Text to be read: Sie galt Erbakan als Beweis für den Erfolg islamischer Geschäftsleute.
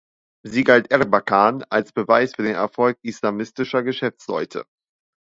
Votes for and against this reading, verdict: 1, 2, rejected